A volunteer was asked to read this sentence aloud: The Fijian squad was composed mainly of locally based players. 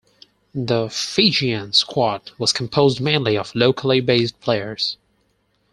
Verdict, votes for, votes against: accepted, 4, 0